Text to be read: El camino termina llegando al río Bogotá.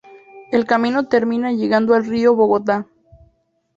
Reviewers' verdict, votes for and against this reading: accepted, 2, 0